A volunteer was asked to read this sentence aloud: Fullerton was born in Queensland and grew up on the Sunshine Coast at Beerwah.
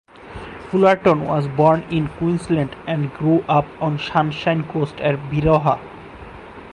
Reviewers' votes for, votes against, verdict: 4, 2, accepted